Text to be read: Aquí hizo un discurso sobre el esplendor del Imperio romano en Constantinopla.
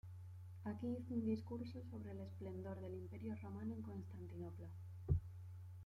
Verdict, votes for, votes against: rejected, 0, 2